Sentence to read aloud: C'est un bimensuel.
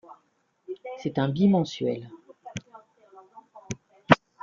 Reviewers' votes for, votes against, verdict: 1, 2, rejected